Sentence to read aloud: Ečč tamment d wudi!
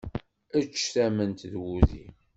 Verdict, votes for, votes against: accepted, 2, 0